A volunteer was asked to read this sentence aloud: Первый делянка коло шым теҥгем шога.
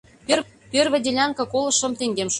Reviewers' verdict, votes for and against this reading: rejected, 0, 2